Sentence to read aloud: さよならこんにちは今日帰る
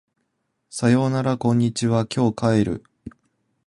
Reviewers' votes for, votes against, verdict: 2, 0, accepted